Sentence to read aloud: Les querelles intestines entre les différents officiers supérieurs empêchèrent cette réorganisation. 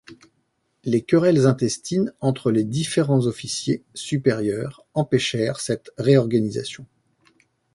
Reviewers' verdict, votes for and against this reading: accepted, 2, 0